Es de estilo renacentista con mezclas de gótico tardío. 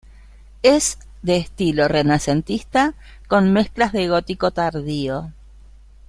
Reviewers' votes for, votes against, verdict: 1, 2, rejected